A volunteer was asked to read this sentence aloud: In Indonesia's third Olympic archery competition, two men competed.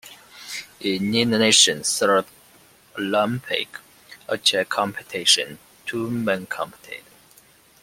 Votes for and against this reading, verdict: 1, 3, rejected